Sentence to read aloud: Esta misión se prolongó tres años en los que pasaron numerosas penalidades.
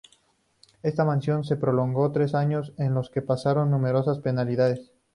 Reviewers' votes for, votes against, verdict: 2, 0, accepted